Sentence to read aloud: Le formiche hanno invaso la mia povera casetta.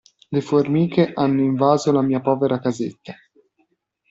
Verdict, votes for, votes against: accepted, 2, 0